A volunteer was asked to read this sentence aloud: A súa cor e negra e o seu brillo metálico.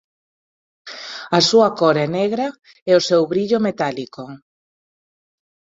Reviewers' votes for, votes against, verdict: 0, 2, rejected